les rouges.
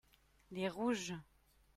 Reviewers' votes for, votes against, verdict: 2, 0, accepted